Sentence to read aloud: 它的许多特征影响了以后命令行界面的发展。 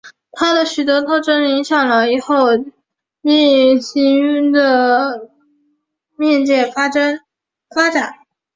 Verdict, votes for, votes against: rejected, 1, 2